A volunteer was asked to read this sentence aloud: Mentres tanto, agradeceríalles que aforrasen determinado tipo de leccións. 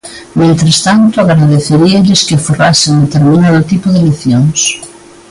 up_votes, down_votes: 2, 1